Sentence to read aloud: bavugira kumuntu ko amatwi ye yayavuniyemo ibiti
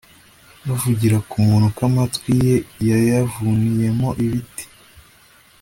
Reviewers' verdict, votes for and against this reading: accepted, 2, 0